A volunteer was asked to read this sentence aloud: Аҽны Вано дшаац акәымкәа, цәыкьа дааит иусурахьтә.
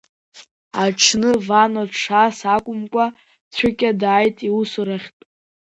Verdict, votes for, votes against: rejected, 0, 2